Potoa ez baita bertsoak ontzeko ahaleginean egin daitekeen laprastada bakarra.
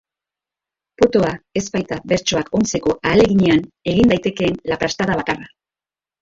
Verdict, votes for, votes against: accepted, 2, 0